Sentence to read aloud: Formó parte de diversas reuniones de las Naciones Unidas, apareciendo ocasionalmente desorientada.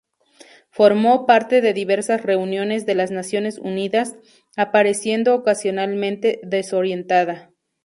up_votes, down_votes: 2, 0